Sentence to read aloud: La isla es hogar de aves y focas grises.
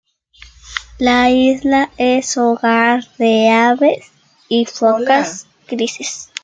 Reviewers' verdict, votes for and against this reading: rejected, 1, 2